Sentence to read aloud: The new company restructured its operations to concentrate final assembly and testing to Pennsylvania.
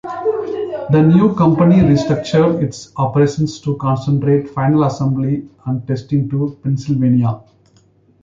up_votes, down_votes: 1, 2